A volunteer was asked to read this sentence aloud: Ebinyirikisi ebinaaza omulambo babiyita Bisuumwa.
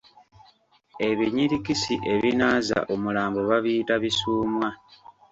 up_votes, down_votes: 2, 0